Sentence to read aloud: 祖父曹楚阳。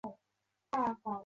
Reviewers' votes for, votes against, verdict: 1, 3, rejected